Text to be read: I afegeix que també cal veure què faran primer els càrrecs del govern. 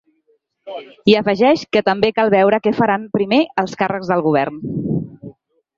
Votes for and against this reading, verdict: 3, 1, accepted